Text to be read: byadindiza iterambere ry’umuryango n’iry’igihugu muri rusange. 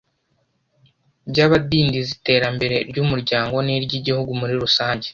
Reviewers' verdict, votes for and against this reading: rejected, 1, 2